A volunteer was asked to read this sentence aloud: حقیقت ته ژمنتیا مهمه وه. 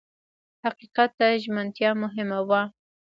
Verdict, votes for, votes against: rejected, 1, 2